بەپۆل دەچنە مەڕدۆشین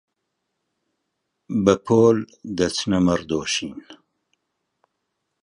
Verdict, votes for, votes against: rejected, 1, 2